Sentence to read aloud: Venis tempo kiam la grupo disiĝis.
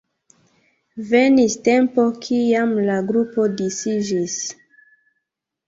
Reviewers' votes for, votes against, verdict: 0, 2, rejected